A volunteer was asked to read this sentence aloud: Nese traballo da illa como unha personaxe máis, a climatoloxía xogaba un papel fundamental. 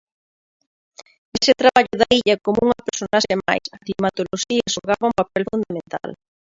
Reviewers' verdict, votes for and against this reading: rejected, 1, 2